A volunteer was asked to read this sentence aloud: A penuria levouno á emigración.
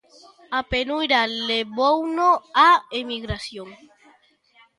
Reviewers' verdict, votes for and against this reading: rejected, 0, 2